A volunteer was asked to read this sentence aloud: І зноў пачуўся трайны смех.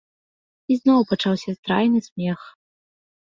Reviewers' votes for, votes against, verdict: 1, 2, rejected